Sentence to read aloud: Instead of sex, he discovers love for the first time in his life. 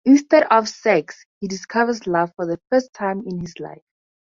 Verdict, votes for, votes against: accepted, 4, 0